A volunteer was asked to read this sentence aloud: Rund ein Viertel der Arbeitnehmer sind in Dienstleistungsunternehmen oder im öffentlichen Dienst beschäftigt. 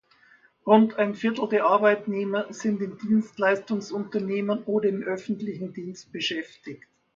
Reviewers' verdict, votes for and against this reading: accepted, 2, 1